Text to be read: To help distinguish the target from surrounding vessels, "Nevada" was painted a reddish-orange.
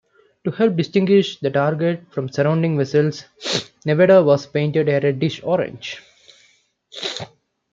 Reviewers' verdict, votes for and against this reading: accepted, 2, 1